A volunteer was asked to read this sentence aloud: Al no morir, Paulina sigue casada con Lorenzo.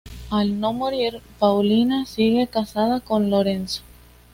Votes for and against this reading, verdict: 2, 0, accepted